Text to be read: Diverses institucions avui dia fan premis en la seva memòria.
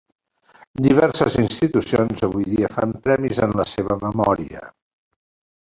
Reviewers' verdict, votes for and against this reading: accepted, 3, 1